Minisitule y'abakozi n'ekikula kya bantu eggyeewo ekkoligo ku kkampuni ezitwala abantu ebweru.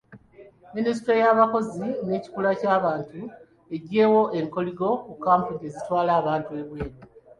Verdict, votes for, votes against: accepted, 2, 0